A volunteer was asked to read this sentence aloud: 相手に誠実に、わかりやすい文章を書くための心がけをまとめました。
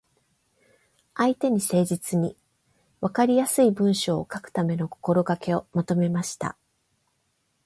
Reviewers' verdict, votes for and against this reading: accepted, 8, 0